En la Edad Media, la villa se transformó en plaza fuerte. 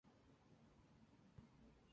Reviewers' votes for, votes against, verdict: 0, 2, rejected